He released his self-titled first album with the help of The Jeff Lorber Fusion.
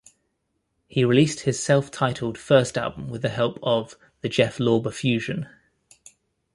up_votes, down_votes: 2, 0